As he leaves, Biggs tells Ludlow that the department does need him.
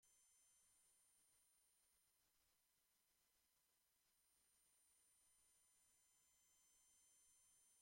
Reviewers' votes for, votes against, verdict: 0, 2, rejected